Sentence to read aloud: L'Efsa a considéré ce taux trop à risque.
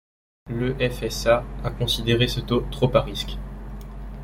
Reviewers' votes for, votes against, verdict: 1, 2, rejected